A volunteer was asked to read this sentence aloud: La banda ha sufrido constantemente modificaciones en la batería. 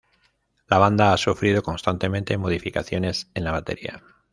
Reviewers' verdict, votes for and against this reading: accepted, 2, 0